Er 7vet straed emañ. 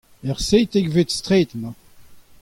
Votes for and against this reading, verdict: 0, 2, rejected